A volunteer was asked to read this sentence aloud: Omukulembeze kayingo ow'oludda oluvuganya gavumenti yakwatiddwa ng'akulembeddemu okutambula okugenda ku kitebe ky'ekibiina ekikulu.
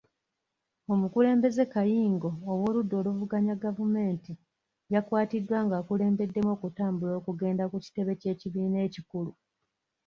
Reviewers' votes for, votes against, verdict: 2, 0, accepted